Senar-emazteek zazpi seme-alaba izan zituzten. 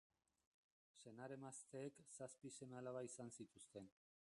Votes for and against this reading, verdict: 0, 2, rejected